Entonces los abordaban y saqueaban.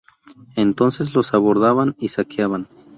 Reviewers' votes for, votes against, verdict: 2, 0, accepted